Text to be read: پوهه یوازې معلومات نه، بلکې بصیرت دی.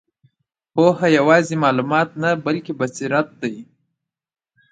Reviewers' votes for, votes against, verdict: 2, 0, accepted